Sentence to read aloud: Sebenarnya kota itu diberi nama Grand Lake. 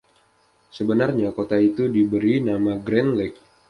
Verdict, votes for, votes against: accepted, 2, 0